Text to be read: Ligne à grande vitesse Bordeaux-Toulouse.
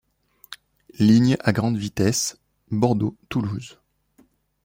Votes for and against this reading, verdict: 2, 0, accepted